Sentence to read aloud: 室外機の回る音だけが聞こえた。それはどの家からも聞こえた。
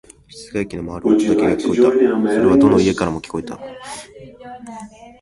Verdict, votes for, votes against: rejected, 2, 3